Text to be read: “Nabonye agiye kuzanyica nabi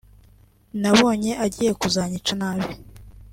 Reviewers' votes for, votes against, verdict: 3, 0, accepted